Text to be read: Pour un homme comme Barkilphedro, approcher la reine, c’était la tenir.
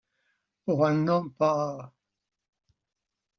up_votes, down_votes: 0, 2